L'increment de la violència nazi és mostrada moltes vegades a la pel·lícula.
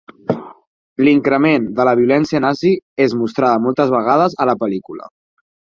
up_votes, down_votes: 4, 0